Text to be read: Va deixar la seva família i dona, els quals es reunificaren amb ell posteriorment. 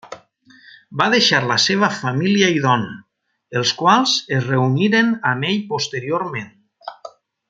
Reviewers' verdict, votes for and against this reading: rejected, 1, 2